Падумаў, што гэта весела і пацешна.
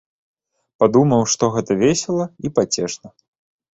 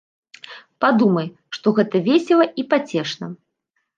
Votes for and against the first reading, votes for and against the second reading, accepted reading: 3, 0, 0, 3, first